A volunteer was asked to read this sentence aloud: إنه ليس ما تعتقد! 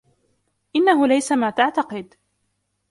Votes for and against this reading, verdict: 2, 1, accepted